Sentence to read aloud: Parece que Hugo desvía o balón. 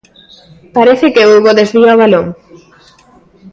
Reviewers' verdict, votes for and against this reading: accepted, 2, 1